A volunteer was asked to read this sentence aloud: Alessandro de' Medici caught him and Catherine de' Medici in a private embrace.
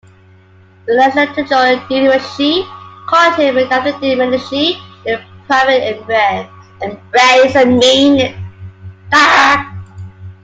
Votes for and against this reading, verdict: 0, 2, rejected